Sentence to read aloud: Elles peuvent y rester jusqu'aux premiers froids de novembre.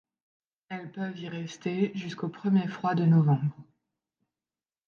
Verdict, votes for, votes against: accepted, 2, 0